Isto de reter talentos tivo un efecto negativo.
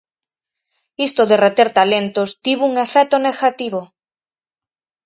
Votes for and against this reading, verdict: 4, 0, accepted